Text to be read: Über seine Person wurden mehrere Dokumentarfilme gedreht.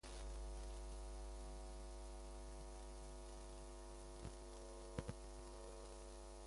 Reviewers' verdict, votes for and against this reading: rejected, 0, 2